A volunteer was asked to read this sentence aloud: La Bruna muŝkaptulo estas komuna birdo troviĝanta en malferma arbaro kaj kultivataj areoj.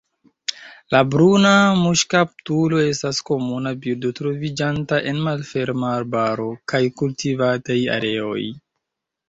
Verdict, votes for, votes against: accepted, 2, 1